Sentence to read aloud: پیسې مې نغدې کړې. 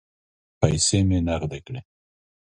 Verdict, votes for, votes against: accepted, 2, 0